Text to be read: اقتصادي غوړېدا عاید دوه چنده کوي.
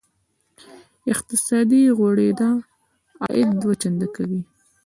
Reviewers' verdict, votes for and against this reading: accepted, 2, 0